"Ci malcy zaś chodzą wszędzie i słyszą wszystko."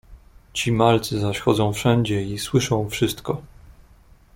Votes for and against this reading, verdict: 2, 0, accepted